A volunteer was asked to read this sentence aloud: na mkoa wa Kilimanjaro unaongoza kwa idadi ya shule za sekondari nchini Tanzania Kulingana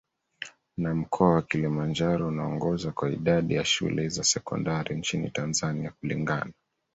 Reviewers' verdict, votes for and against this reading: accepted, 2, 0